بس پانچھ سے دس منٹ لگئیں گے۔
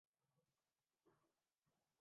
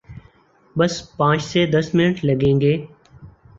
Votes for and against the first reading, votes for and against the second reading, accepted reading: 0, 2, 4, 0, second